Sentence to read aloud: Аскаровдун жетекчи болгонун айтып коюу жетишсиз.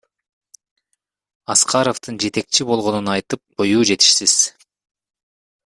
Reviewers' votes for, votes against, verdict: 1, 2, rejected